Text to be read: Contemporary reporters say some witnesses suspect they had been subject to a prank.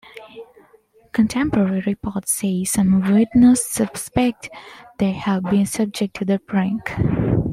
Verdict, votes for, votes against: accepted, 2, 0